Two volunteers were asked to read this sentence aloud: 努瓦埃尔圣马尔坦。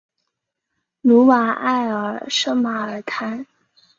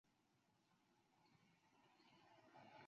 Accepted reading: first